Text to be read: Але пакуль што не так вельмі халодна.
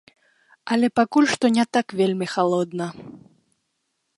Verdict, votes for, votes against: accepted, 3, 0